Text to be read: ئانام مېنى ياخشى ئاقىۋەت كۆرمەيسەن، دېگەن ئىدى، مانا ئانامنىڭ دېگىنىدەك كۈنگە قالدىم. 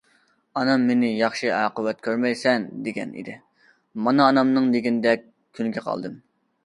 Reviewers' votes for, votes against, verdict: 2, 0, accepted